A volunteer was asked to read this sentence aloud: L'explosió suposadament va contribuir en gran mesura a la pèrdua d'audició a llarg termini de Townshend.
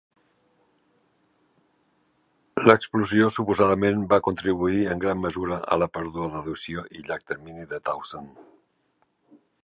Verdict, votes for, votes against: rejected, 1, 2